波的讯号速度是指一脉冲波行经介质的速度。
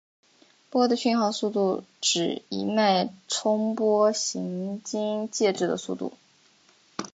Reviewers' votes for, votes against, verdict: 5, 0, accepted